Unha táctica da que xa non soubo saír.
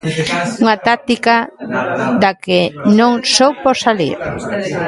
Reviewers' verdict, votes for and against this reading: rejected, 0, 2